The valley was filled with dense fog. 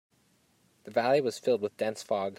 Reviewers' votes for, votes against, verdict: 2, 0, accepted